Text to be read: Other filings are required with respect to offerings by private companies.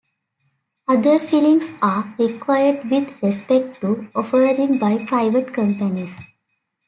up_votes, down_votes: 0, 2